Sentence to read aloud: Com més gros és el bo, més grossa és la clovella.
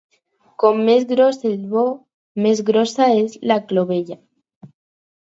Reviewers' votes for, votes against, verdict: 0, 4, rejected